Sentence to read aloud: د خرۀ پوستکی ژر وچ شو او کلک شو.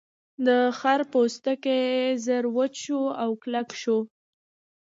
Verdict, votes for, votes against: accepted, 2, 1